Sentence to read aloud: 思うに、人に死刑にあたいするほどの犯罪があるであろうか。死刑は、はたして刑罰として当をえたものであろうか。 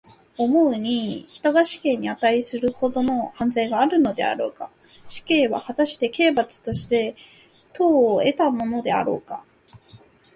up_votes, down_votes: 2, 0